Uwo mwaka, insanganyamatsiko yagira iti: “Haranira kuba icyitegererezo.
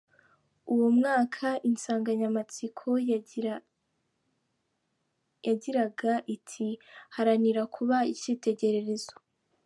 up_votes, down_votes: 1, 2